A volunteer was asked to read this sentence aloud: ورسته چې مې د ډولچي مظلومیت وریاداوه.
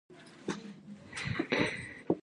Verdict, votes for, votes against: rejected, 1, 2